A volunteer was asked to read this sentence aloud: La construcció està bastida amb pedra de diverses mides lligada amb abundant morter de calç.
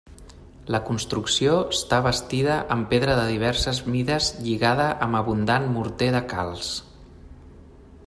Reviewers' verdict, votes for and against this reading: accepted, 3, 0